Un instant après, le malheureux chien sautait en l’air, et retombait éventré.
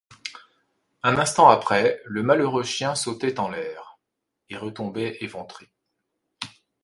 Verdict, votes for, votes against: accepted, 2, 0